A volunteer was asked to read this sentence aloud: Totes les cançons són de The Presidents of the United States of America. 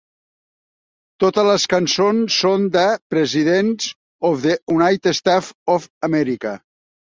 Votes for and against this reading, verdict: 1, 2, rejected